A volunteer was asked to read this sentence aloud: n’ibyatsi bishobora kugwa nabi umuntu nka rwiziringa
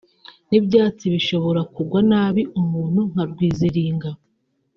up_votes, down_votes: 2, 0